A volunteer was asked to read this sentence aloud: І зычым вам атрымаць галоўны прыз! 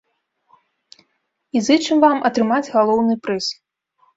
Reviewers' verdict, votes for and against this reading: accepted, 2, 0